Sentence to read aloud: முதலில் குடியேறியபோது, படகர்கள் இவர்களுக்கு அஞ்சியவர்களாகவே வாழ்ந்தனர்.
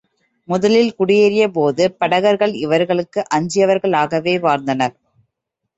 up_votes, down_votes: 2, 0